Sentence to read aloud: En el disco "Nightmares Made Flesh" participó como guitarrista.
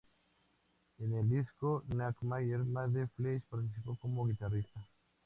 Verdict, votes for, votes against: accepted, 2, 0